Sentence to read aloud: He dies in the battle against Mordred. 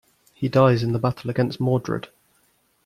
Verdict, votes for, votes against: accepted, 2, 0